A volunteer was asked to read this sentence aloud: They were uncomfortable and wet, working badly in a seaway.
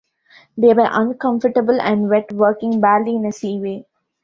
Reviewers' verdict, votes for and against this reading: accepted, 2, 0